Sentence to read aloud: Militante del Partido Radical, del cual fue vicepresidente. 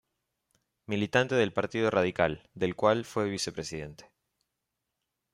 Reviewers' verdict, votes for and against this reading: accepted, 2, 0